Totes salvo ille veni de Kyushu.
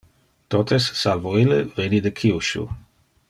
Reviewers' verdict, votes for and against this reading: accepted, 2, 0